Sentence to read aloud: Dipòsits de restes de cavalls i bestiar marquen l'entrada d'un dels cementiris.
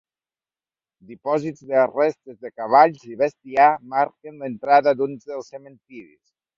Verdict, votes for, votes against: accepted, 2, 0